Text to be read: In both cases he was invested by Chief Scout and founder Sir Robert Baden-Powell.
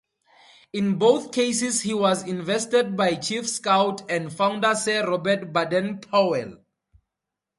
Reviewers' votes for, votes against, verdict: 2, 0, accepted